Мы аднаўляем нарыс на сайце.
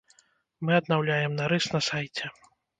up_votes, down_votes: 1, 2